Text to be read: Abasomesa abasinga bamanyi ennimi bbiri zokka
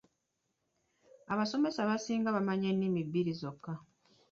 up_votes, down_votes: 2, 0